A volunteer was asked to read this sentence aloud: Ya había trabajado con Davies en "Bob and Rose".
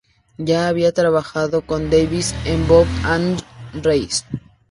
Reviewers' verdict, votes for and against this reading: rejected, 0, 2